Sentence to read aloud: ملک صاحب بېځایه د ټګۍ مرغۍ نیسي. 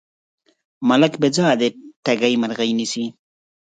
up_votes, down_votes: 0, 4